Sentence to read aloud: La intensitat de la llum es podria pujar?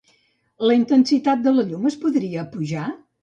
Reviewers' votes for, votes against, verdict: 3, 0, accepted